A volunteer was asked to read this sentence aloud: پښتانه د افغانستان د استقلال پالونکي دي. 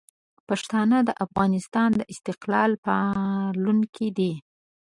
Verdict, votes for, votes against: accepted, 2, 0